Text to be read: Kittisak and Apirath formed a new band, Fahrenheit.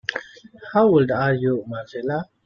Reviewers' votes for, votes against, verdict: 0, 2, rejected